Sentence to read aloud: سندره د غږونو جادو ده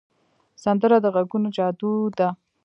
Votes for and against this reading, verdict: 0, 2, rejected